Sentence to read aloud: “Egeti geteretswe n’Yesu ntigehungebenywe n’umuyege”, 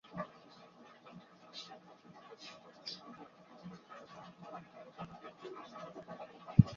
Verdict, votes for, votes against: rejected, 0, 2